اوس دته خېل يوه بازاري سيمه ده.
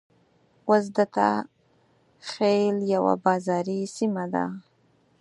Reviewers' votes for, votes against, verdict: 4, 0, accepted